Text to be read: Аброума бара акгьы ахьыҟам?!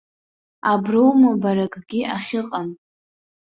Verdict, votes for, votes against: accepted, 2, 0